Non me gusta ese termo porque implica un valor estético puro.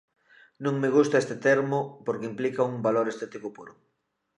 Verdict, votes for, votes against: rejected, 0, 2